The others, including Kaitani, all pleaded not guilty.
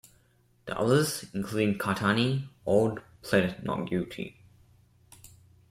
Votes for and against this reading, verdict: 2, 0, accepted